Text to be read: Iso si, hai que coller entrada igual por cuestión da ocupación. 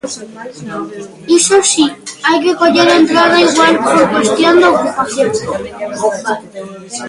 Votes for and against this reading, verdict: 1, 2, rejected